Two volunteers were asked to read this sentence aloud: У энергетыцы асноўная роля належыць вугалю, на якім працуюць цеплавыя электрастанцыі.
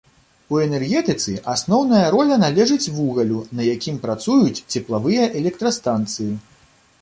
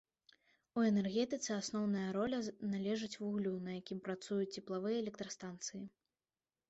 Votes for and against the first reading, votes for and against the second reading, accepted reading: 2, 0, 0, 2, first